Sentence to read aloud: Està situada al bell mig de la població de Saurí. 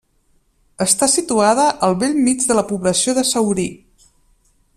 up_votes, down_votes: 2, 0